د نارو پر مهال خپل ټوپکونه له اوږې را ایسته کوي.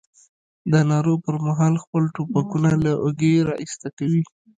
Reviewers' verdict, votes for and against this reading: rejected, 0, 2